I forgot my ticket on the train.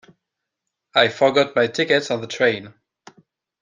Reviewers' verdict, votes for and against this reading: accepted, 2, 0